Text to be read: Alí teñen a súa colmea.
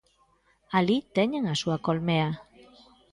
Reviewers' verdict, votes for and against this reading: accepted, 2, 0